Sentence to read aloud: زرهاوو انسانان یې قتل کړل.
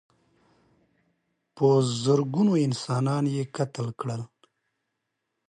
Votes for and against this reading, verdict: 1, 2, rejected